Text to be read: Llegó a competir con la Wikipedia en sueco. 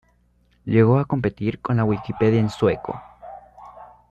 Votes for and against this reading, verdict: 2, 0, accepted